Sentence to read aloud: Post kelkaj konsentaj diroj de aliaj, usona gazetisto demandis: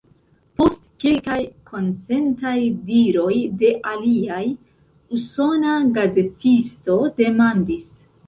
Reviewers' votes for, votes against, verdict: 3, 1, accepted